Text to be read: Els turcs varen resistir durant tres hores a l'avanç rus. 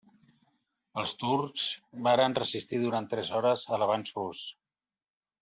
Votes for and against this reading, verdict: 2, 0, accepted